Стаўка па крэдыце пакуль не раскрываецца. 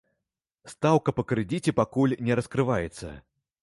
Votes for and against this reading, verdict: 0, 2, rejected